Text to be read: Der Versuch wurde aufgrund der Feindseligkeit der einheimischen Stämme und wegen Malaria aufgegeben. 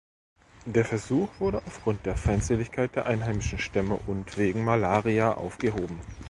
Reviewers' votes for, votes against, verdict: 0, 2, rejected